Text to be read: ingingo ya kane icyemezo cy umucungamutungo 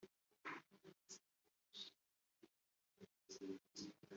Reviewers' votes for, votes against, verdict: 0, 3, rejected